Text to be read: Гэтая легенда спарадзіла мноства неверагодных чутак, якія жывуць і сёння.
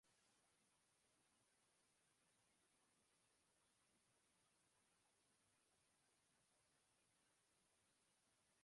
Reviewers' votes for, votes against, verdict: 0, 2, rejected